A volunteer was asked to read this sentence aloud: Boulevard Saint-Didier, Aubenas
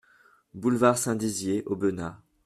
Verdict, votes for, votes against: rejected, 0, 2